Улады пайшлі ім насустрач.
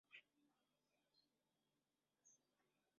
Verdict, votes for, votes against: rejected, 0, 2